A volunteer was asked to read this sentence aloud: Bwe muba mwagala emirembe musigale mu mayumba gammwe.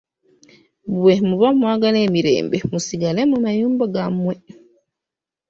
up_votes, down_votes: 2, 1